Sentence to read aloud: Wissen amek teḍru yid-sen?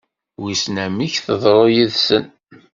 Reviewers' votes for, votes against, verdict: 2, 0, accepted